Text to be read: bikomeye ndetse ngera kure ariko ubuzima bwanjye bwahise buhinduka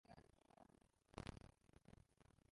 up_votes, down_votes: 0, 2